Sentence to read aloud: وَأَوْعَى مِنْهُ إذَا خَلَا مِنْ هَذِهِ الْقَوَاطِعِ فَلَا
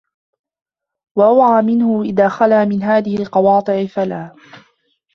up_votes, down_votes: 0, 2